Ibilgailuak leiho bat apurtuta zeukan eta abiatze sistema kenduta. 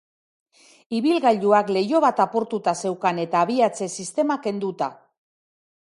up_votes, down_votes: 2, 0